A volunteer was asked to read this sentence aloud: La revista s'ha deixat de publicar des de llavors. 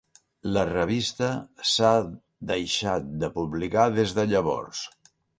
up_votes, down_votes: 1, 2